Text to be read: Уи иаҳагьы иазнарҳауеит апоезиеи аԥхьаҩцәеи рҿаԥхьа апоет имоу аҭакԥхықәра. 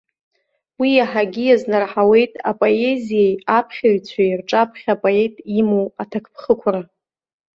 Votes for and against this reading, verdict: 2, 0, accepted